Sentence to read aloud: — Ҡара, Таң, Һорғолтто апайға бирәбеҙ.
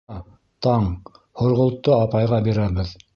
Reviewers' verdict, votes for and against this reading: rejected, 2, 3